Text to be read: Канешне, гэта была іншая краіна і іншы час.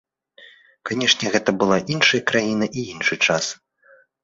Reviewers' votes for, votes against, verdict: 2, 1, accepted